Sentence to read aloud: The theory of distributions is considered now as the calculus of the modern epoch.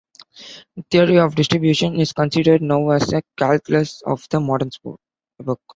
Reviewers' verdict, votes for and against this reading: rejected, 1, 2